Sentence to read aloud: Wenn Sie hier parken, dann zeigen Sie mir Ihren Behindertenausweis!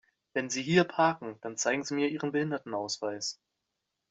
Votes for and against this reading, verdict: 2, 0, accepted